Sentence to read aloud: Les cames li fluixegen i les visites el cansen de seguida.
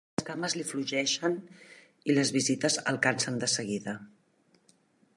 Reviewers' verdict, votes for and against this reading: rejected, 0, 2